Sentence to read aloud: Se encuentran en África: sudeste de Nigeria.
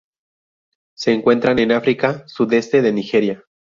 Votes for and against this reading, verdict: 2, 0, accepted